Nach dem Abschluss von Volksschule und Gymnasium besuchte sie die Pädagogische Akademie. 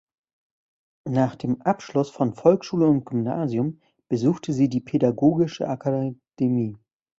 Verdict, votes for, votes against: rejected, 1, 2